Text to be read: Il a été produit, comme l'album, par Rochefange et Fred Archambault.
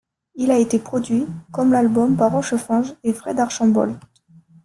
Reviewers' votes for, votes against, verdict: 2, 3, rejected